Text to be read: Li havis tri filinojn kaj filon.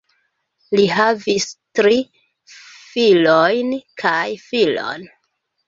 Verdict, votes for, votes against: rejected, 0, 2